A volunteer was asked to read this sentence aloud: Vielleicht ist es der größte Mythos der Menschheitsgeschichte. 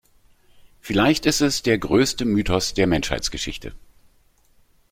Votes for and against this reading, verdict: 2, 0, accepted